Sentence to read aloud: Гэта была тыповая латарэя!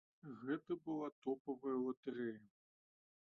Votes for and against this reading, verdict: 0, 2, rejected